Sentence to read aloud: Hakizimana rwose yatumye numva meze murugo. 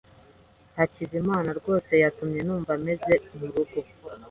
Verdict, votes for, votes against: accepted, 2, 0